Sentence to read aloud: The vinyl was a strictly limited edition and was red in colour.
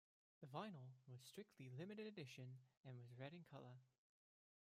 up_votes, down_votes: 1, 2